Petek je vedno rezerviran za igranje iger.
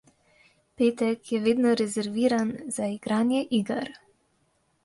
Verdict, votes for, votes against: accepted, 2, 0